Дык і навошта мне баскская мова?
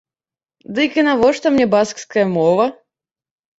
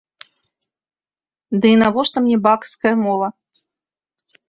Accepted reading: first